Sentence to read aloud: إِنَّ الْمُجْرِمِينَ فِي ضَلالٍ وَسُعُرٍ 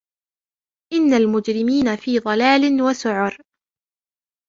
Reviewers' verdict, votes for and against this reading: accepted, 2, 0